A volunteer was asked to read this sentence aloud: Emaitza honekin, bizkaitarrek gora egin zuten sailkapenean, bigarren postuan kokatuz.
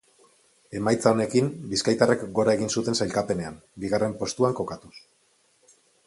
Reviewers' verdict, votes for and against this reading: accepted, 6, 0